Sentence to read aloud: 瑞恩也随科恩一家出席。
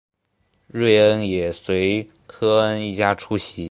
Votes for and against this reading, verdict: 2, 0, accepted